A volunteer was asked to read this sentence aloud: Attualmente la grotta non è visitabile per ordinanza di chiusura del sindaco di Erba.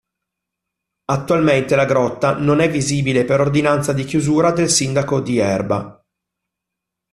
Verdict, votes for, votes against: rejected, 1, 2